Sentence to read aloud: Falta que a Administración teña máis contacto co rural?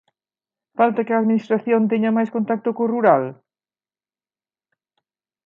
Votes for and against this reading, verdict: 2, 0, accepted